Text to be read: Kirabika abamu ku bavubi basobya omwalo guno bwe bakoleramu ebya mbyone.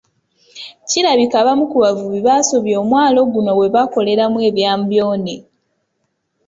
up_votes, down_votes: 2, 0